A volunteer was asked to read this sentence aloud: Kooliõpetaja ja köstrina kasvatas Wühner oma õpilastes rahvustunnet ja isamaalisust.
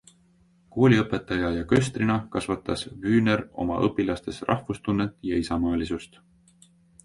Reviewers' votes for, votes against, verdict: 2, 1, accepted